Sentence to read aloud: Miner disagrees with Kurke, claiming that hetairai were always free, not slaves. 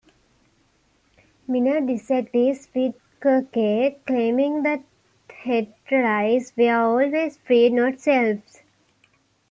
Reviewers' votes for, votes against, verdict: 0, 2, rejected